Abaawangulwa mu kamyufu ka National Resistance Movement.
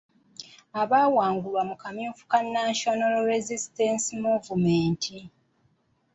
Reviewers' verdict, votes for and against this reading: accepted, 2, 1